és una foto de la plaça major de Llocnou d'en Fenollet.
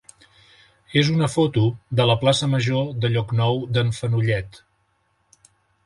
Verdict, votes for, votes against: accepted, 3, 0